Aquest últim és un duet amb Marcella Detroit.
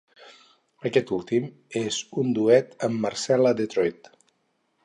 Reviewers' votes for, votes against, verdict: 4, 2, accepted